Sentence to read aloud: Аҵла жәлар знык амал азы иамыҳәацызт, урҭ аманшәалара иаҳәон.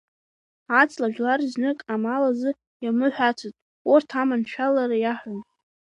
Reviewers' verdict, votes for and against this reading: accepted, 2, 1